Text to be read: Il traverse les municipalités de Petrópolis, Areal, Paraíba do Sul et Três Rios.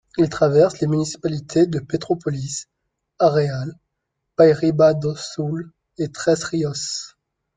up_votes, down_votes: 2, 0